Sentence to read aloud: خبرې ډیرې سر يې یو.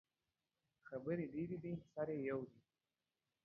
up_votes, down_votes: 1, 2